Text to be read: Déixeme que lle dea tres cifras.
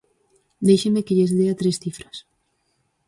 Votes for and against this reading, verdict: 2, 4, rejected